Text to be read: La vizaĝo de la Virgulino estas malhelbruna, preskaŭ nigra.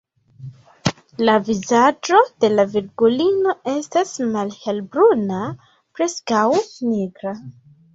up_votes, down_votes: 2, 0